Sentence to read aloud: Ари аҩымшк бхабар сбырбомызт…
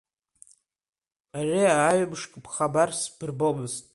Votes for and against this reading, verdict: 2, 1, accepted